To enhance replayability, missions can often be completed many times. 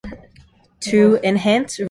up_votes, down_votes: 0, 2